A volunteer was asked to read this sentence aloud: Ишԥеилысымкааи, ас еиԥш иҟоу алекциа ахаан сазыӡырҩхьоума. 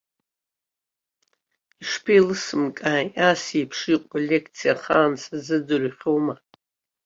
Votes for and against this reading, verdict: 2, 0, accepted